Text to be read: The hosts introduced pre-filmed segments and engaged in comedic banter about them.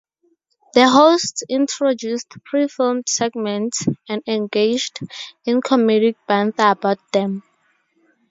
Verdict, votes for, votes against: accepted, 2, 0